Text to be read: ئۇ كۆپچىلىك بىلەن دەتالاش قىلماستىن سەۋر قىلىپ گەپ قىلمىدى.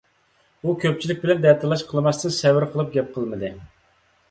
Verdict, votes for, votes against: accepted, 2, 0